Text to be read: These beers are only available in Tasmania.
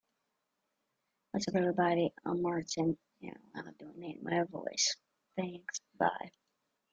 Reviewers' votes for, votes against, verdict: 1, 2, rejected